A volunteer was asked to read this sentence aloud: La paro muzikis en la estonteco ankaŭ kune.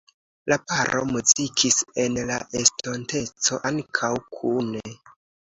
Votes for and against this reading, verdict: 2, 0, accepted